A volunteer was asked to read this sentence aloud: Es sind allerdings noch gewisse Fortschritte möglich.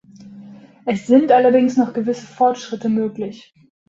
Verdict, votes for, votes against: accepted, 2, 0